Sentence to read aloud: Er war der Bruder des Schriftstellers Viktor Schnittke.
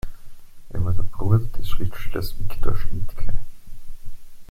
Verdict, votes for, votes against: accepted, 2, 0